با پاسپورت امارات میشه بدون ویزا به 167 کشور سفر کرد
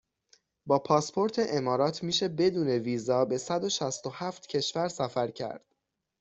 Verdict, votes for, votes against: rejected, 0, 2